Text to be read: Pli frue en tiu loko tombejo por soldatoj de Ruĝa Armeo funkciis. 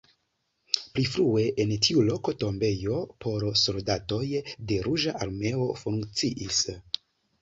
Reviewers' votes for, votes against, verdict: 2, 0, accepted